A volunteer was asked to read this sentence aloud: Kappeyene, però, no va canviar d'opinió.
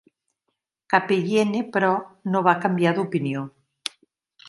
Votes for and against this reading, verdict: 2, 0, accepted